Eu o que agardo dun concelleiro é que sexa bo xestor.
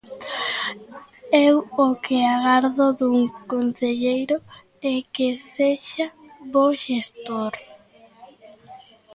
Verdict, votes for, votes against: rejected, 1, 2